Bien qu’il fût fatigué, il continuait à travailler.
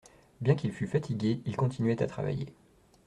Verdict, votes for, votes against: accepted, 2, 0